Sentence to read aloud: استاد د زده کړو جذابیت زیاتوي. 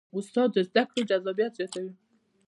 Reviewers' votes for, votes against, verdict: 2, 0, accepted